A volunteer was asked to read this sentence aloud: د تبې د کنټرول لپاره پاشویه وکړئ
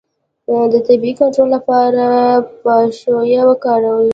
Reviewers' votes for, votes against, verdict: 2, 0, accepted